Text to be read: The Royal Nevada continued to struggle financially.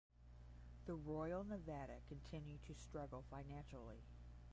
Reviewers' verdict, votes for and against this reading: rejected, 5, 5